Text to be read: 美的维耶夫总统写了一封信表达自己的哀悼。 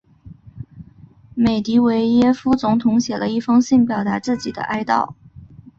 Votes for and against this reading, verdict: 0, 2, rejected